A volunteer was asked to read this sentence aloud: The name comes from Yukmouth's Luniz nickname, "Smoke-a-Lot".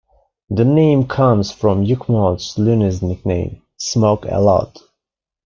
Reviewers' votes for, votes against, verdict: 2, 0, accepted